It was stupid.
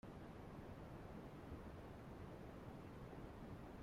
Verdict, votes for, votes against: rejected, 0, 2